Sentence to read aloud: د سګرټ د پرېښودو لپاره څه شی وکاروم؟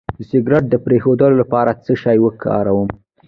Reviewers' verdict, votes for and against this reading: accepted, 2, 0